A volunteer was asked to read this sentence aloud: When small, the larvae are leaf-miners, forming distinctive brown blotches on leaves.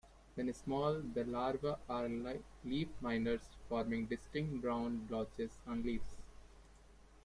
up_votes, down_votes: 1, 2